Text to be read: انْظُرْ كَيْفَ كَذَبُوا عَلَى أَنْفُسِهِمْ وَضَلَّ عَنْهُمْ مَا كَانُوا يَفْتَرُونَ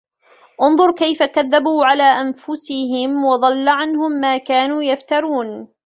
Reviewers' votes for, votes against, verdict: 2, 0, accepted